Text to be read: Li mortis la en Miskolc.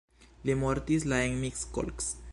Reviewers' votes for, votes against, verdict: 1, 2, rejected